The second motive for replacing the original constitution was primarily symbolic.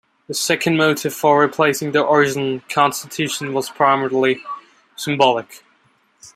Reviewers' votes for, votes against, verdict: 0, 2, rejected